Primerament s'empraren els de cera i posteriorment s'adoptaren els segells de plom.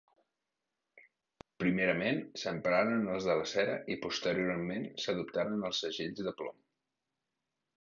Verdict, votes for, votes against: rejected, 0, 2